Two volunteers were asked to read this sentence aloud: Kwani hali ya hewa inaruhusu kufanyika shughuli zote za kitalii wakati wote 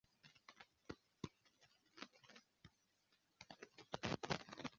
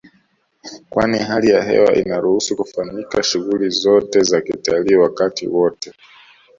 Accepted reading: second